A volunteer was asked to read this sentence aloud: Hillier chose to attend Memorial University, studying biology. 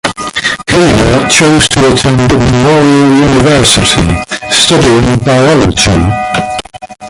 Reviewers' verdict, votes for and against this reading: rejected, 0, 2